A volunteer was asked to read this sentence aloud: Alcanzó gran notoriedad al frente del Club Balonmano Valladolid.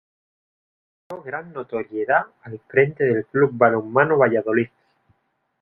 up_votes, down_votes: 0, 2